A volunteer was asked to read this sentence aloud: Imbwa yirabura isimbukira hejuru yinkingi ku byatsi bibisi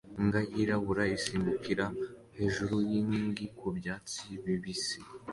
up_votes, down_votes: 2, 0